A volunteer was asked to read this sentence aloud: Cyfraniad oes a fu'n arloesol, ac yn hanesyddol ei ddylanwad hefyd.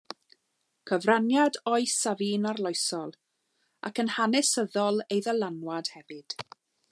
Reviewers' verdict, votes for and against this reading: accepted, 2, 0